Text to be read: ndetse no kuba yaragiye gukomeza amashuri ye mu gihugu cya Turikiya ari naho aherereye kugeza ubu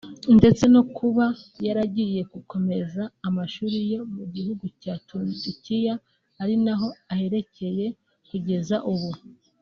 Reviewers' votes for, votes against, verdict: 0, 2, rejected